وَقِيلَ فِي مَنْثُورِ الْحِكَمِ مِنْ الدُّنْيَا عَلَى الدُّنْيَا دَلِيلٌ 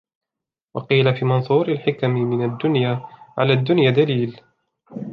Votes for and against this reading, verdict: 2, 0, accepted